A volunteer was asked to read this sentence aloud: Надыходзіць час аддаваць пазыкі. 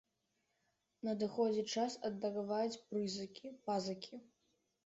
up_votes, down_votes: 0, 2